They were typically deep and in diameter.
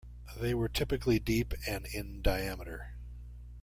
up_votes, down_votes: 1, 2